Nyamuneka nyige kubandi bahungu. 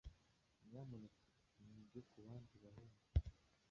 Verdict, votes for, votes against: rejected, 1, 2